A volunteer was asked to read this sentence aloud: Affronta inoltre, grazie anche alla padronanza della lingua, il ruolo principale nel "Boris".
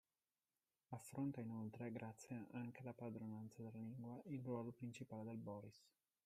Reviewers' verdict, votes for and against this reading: rejected, 0, 2